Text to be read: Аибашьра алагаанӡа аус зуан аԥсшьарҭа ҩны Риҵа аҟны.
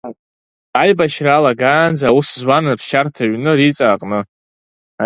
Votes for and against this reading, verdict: 5, 0, accepted